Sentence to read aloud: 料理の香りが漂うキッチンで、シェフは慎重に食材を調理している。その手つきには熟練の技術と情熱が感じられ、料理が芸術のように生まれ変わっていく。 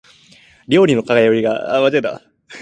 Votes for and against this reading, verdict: 0, 4, rejected